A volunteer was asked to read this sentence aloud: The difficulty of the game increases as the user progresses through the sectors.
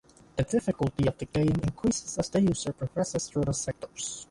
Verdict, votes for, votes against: rejected, 1, 2